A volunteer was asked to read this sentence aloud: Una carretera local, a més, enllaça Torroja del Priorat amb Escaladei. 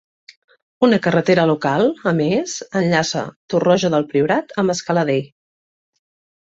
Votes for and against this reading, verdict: 2, 0, accepted